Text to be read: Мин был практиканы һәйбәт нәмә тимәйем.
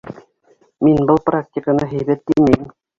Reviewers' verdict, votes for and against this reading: rejected, 0, 2